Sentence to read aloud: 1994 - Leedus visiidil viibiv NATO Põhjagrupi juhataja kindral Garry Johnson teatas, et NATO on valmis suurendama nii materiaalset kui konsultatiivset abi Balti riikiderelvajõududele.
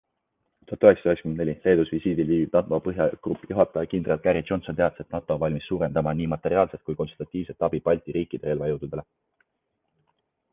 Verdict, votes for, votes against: rejected, 0, 2